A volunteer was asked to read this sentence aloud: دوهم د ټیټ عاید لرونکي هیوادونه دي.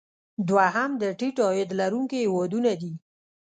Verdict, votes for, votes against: rejected, 1, 2